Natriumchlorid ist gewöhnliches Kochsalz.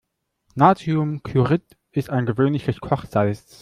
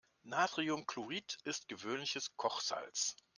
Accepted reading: second